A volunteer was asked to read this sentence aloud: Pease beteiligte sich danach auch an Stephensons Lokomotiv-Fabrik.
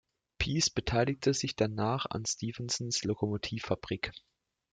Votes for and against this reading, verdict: 2, 0, accepted